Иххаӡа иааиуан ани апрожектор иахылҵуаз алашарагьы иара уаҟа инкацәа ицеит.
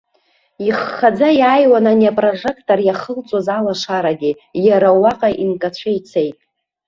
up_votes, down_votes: 1, 2